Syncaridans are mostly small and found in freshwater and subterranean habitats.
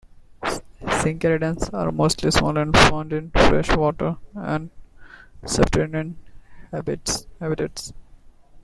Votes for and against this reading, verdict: 0, 2, rejected